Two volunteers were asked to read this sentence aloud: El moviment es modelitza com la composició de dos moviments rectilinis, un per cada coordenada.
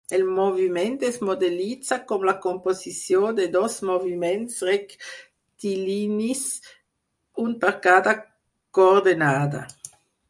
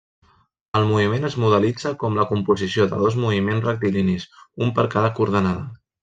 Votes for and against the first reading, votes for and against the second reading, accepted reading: 0, 4, 3, 2, second